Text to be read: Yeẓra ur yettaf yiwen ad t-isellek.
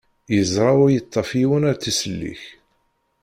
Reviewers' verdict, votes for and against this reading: rejected, 1, 2